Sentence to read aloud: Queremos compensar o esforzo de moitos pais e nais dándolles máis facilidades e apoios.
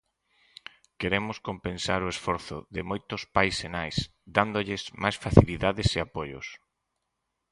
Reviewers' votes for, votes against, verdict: 6, 0, accepted